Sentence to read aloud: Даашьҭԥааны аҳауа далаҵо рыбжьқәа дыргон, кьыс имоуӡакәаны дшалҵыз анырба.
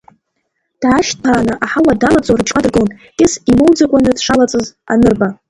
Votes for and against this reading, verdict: 1, 2, rejected